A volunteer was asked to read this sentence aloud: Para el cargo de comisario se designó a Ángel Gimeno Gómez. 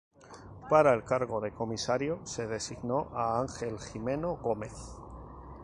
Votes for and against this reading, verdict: 0, 2, rejected